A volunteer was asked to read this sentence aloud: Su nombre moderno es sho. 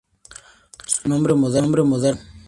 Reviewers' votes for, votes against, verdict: 0, 2, rejected